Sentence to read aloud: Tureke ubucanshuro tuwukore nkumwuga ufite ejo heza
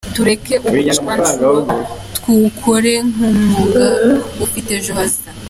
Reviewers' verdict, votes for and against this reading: accepted, 2, 1